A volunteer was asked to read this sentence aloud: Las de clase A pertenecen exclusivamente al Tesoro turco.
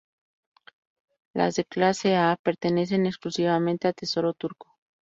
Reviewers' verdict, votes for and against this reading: accepted, 4, 0